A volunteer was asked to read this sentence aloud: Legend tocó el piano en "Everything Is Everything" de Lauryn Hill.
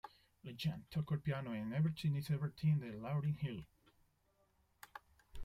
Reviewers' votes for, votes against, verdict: 1, 2, rejected